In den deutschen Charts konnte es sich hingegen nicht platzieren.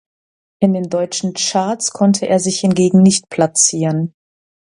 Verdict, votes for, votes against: rejected, 1, 2